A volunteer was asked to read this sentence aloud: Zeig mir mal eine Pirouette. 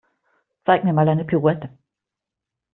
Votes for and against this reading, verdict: 1, 2, rejected